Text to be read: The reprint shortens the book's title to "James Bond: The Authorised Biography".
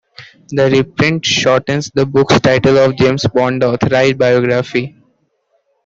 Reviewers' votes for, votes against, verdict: 0, 2, rejected